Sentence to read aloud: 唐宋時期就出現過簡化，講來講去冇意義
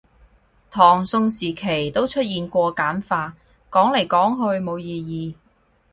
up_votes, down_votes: 2, 4